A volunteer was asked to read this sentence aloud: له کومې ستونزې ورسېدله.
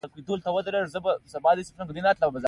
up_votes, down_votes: 2, 0